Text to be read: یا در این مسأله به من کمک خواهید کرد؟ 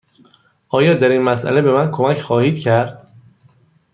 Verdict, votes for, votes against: rejected, 1, 2